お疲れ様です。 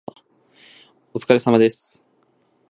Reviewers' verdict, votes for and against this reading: accepted, 2, 0